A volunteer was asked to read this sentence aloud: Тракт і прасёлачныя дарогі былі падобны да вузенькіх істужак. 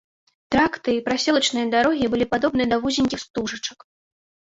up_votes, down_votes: 1, 2